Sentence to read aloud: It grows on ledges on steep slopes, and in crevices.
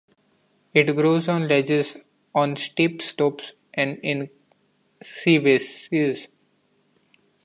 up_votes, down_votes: 0, 2